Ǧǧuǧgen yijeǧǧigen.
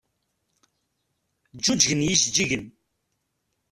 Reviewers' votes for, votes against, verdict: 0, 2, rejected